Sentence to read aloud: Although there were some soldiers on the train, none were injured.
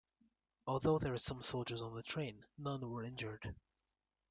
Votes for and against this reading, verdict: 2, 0, accepted